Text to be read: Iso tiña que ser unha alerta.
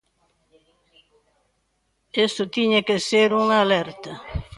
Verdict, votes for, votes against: rejected, 0, 2